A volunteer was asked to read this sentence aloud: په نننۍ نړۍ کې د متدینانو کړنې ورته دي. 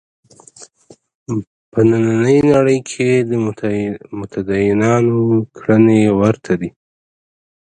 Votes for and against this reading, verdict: 2, 0, accepted